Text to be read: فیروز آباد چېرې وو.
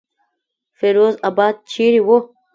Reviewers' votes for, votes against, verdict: 2, 1, accepted